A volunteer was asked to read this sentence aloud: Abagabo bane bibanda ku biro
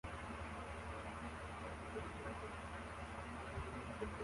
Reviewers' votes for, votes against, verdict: 0, 2, rejected